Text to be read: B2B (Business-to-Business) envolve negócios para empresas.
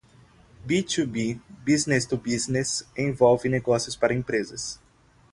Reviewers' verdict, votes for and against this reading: rejected, 0, 2